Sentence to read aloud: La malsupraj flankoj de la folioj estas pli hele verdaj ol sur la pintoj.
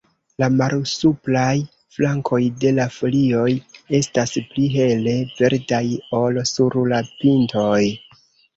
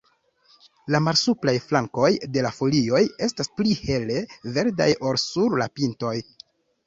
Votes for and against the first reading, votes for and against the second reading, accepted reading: 1, 3, 2, 1, second